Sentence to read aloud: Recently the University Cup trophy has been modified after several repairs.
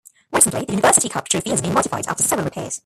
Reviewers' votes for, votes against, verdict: 0, 2, rejected